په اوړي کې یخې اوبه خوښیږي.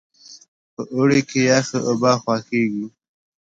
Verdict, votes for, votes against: accepted, 2, 0